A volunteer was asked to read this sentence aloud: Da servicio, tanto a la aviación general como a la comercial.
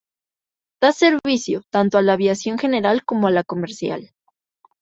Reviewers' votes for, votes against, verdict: 2, 3, rejected